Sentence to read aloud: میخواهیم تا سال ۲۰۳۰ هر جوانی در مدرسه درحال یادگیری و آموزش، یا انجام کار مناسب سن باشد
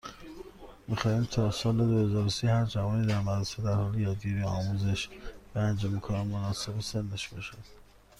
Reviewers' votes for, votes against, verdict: 0, 2, rejected